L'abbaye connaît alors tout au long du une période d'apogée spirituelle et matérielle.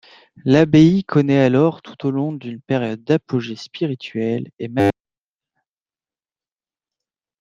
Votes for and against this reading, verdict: 0, 2, rejected